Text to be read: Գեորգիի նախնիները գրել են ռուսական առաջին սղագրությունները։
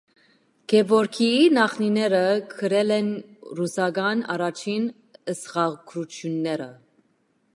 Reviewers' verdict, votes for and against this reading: accepted, 2, 1